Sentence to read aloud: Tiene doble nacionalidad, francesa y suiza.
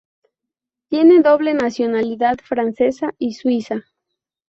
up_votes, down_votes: 0, 2